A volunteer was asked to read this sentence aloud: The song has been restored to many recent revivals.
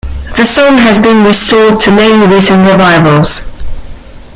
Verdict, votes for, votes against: accepted, 2, 0